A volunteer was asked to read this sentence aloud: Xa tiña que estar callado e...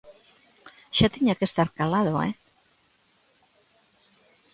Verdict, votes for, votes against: rejected, 0, 2